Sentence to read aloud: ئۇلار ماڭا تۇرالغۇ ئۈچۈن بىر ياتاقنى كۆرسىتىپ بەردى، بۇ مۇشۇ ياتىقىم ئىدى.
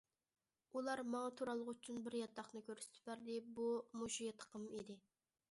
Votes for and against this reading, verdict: 2, 0, accepted